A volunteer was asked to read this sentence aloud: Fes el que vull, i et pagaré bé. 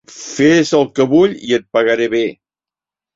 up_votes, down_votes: 3, 0